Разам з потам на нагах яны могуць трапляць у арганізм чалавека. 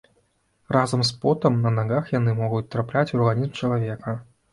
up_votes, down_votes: 2, 1